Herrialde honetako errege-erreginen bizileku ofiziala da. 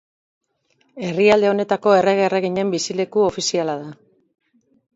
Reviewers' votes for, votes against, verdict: 6, 0, accepted